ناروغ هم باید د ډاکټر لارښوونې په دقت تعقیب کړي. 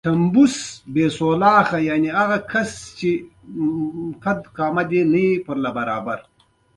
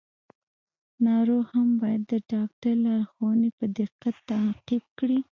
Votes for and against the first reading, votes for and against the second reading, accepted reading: 2, 1, 1, 2, first